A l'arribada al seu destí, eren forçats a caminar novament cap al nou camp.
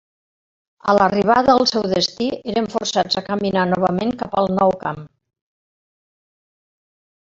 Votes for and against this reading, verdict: 3, 0, accepted